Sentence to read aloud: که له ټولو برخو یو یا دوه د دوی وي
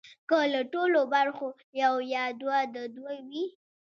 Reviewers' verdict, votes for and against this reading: accepted, 2, 0